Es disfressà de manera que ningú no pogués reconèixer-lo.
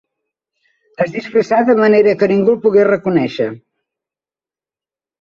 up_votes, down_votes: 2, 3